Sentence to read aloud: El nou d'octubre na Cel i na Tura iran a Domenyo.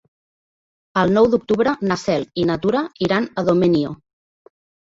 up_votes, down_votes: 0, 2